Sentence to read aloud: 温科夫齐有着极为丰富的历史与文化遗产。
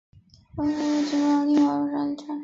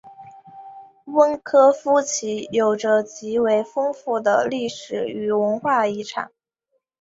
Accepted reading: second